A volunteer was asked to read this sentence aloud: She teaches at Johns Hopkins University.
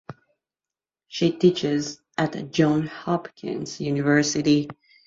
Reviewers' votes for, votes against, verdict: 2, 1, accepted